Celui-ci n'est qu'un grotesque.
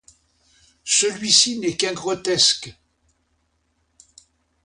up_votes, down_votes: 2, 0